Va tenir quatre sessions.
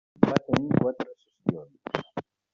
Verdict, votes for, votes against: rejected, 0, 2